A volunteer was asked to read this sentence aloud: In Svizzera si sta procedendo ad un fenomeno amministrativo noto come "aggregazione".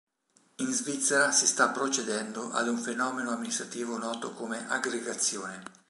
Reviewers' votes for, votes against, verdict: 2, 0, accepted